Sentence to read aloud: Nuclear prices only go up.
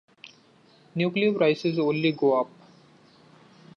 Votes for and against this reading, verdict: 2, 1, accepted